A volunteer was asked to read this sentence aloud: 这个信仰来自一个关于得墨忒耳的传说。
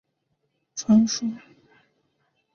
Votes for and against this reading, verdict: 1, 2, rejected